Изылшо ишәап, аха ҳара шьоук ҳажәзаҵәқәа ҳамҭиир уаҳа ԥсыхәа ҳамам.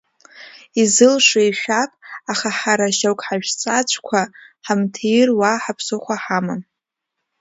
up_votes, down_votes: 0, 2